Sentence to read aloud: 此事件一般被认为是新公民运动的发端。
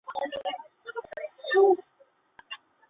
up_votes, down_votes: 0, 2